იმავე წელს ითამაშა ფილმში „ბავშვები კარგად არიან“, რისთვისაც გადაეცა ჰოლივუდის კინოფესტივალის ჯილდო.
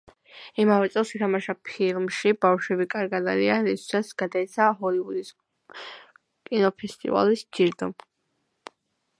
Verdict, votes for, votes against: rejected, 1, 2